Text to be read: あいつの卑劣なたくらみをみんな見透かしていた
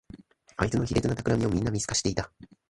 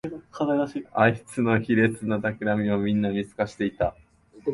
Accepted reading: first